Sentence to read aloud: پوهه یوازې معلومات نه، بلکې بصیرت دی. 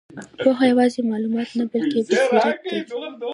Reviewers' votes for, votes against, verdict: 0, 2, rejected